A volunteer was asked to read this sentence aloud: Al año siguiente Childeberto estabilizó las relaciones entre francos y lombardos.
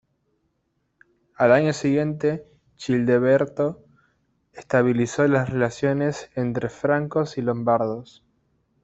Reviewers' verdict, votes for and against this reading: rejected, 1, 2